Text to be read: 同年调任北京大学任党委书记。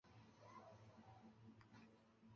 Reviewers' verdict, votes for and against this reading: rejected, 0, 2